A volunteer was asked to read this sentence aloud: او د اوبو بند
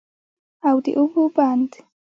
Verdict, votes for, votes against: accepted, 3, 0